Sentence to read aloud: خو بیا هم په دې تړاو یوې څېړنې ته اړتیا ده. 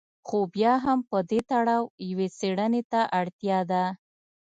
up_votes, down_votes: 2, 0